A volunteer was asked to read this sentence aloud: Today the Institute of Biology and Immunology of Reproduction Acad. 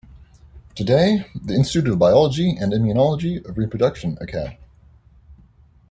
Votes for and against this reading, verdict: 1, 2, rejected